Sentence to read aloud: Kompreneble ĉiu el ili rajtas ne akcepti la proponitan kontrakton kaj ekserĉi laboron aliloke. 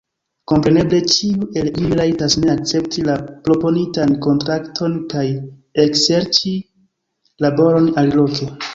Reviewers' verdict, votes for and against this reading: rejected, 1, 2